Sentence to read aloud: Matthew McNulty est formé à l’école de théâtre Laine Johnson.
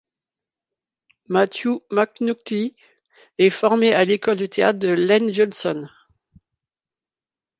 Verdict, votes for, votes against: accepted, 3, 2